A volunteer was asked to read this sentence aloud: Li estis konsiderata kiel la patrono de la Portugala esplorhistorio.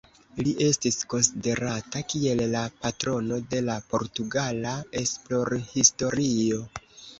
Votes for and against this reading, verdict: 1, 3, rejected